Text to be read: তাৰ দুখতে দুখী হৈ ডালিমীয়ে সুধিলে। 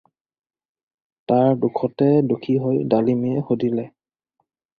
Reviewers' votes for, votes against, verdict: 4, 0, accepted